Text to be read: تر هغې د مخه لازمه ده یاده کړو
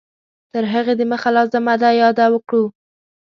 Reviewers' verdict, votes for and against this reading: rejected, 0, 2